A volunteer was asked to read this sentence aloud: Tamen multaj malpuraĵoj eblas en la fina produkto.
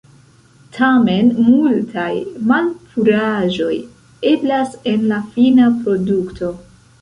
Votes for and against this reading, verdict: 1, 2, rejected